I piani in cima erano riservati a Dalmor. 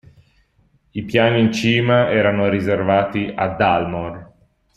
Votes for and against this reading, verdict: 2, 0, accepted